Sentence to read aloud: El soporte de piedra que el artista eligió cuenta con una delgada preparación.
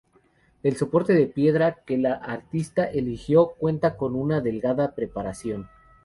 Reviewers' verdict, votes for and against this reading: rejected, 0, 2